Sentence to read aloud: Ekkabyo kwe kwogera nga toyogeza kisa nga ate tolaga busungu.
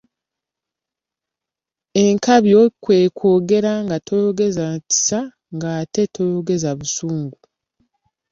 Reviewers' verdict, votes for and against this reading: rejected, 0, 2